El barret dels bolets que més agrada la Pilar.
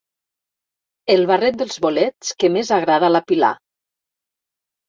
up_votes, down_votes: 1, 2